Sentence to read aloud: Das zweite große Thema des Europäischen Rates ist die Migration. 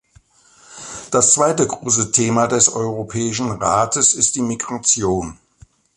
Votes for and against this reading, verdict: 2, 0, accepted